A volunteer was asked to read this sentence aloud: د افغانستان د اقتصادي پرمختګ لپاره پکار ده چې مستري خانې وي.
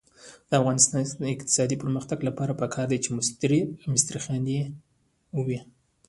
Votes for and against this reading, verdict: 0, 2, rejected